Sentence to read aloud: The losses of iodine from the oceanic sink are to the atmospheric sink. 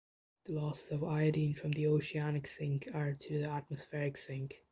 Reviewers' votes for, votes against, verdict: 2, 0, accepted